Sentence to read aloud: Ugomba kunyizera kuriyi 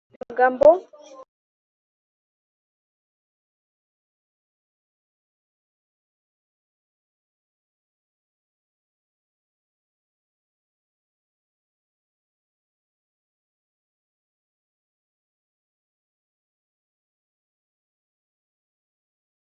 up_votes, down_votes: 0, 2